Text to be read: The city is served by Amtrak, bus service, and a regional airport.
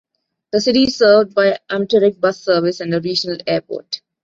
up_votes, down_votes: 2, 0